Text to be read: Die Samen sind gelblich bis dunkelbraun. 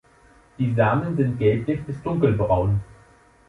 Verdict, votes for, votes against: accepted, 3, 0